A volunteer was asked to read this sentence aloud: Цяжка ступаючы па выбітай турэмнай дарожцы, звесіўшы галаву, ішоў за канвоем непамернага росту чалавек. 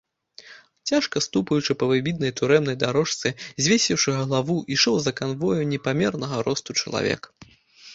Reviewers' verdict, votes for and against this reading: rejected, 0, 2